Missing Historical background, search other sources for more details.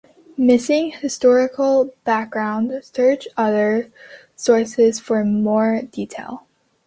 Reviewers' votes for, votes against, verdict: 3, 2, accepted